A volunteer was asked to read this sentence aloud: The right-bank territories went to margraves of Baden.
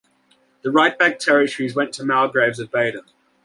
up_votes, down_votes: 0, 2